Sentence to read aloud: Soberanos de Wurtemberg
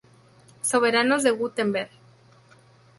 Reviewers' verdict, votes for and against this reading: accepted, 2, 0